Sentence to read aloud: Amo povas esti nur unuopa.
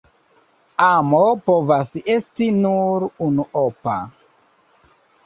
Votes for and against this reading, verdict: 0, 2, rejected